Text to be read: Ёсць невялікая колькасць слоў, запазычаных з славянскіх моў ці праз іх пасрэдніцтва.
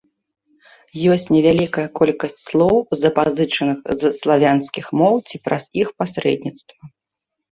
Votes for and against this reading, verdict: 2, 1, accepted